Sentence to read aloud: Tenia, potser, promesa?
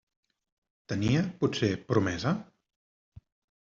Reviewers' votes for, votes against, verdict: 3, 0, accepted